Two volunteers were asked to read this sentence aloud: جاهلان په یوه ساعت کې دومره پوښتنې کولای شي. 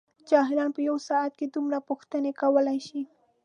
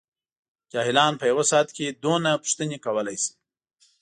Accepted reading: first